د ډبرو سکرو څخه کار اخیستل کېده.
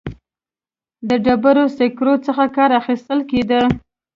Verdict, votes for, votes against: accepted, 2, 0